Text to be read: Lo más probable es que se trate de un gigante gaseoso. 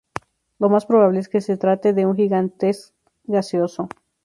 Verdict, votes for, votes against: rejected, 0, 2